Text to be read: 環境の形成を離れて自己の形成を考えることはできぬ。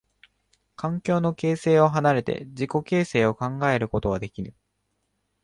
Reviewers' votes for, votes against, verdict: 0, 2, rejected